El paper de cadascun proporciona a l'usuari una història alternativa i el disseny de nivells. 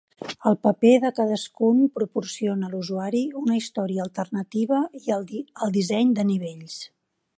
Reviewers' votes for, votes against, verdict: 2, 3, rejected